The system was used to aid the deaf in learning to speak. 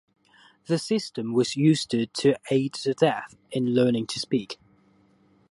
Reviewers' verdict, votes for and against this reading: rejected, 0, 2